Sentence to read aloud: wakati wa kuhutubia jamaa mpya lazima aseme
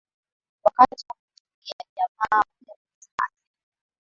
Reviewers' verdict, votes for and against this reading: rejected, 3, 10